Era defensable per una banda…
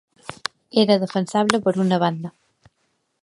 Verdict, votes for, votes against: accepted, 3, 0